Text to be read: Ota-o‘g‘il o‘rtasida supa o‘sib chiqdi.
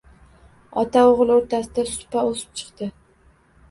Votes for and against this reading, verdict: 2, 1, accepted